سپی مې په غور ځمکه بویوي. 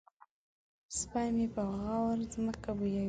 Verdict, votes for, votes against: rejected, 1, 2